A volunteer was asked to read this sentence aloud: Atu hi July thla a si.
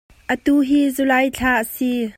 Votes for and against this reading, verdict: 2, 0, accepted